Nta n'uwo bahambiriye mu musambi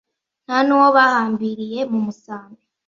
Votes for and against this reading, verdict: 2, 0, accepted